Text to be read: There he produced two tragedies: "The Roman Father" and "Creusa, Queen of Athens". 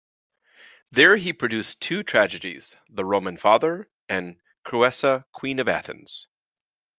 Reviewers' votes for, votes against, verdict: 2, 0, accepted